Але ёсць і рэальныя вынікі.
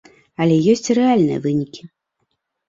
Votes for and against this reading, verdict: 2, 0, accepted